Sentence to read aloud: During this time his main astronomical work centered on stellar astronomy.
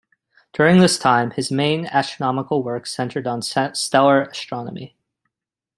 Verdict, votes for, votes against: rejected, 0, 2